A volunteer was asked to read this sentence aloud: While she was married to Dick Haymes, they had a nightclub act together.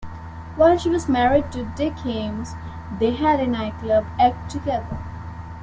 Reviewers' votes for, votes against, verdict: 2, 0, accepted